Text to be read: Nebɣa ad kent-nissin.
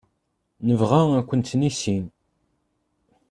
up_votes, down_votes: 2, 0